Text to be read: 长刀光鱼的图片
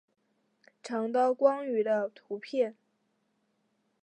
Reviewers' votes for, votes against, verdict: 2, 1, accepted